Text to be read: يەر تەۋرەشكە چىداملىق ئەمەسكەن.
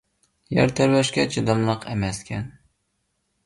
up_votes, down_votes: 2, 0